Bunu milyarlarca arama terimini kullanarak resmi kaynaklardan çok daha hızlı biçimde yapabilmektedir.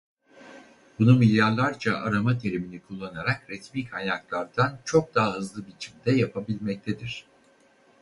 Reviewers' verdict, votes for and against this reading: rejected, 2, 2